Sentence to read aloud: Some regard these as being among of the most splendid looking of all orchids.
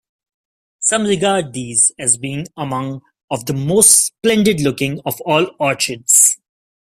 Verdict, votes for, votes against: accepted, 2, 0